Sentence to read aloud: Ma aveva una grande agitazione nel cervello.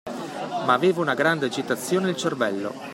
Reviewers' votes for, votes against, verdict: 2, 0, accepted